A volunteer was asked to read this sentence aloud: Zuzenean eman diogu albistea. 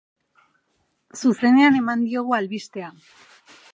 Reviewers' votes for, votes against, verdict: 6, 0, accepted